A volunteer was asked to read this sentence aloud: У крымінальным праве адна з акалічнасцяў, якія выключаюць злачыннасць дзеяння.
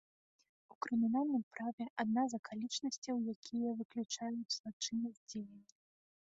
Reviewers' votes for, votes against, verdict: 2, 0, accepted